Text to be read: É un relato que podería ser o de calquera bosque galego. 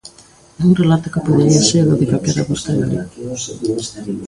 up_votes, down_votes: 0, 2